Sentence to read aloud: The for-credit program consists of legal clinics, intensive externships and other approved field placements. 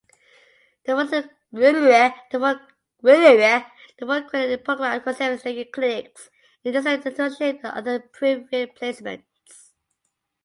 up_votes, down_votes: 0, 2